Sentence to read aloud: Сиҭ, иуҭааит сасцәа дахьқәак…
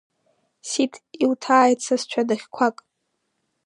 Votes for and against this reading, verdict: 2, 0, accepted